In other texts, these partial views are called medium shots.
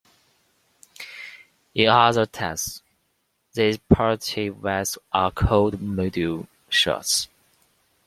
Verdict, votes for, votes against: rejected, 0, 2